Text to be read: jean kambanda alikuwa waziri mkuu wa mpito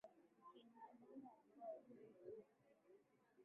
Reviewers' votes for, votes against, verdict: 2, 12, rejected